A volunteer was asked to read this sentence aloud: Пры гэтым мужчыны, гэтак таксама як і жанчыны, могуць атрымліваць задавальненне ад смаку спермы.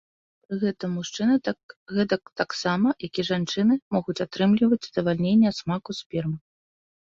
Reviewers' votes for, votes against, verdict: 0, 2, rejected